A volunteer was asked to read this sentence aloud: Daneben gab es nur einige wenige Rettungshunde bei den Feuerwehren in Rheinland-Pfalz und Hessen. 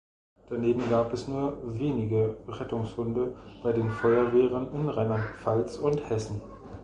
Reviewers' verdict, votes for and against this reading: rejected, 0, 2